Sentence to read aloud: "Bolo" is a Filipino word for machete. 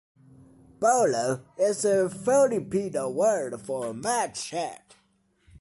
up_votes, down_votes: 2, 1